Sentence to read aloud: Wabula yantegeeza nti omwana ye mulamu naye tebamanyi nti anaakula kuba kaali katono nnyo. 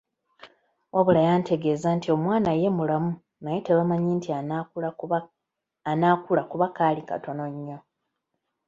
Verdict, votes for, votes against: accepted, 2, 0